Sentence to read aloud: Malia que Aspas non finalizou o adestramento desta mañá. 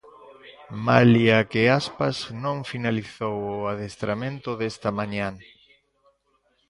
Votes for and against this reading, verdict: 1, 2, rejected